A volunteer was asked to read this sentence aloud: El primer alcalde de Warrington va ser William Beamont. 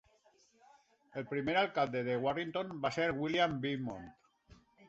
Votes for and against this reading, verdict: 2, 1, accepted